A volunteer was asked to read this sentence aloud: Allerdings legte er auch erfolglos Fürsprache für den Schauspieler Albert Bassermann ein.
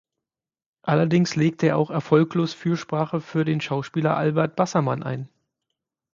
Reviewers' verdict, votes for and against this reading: accepted, 6, 0